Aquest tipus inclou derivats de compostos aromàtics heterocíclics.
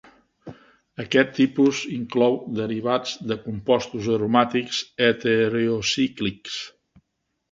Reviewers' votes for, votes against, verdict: 2, 0, accepted